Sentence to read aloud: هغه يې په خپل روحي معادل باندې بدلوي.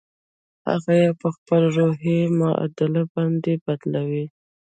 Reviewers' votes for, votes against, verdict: 0, 2, rejected